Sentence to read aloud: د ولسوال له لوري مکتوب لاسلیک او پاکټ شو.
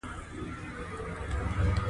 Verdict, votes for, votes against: rejected, 0, 2